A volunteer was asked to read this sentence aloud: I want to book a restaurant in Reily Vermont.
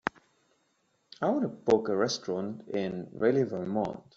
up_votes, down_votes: 3, 0